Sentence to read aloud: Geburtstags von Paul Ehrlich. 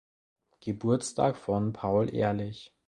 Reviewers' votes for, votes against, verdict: 0, 2, rejected